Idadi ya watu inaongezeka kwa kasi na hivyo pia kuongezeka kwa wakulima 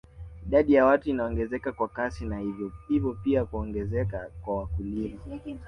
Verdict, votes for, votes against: rejected, 1, 2